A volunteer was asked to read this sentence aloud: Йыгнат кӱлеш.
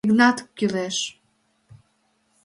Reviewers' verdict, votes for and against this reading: accepted, 2, 1